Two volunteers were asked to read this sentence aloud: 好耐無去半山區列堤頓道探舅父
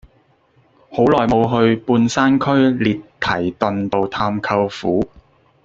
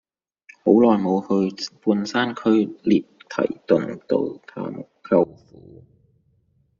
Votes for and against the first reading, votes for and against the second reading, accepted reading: 2, 1, 1, 2, first